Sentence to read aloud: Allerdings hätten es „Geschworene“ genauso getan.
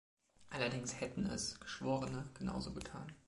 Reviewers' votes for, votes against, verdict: 3, 0, accepted